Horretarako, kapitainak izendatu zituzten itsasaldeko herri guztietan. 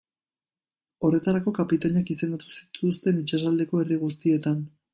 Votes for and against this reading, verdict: 1, 2, rejected